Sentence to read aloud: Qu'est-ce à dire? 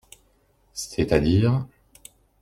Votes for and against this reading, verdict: 0, 2, rejected